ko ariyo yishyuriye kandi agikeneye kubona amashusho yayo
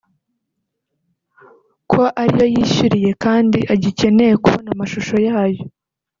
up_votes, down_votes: 1, 2